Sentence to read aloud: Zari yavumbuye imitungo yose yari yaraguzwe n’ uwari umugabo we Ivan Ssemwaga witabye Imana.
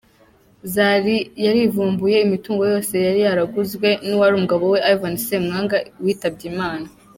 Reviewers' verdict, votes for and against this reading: rejected, 1, 2